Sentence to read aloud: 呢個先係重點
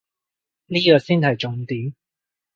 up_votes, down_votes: 0, 2